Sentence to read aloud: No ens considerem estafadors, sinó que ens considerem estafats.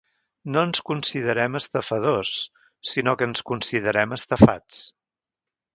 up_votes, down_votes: 3, 0